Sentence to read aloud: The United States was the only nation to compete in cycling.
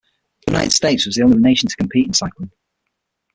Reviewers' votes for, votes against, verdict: 3, 6, rejected